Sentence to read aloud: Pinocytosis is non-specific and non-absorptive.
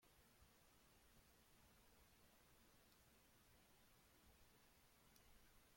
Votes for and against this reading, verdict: 0, 2, rejected